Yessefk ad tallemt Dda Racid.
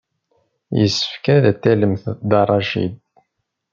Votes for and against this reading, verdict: 0, 2, rejected